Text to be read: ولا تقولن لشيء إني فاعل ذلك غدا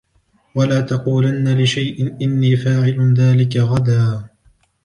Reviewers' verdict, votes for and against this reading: accepted, 2, 0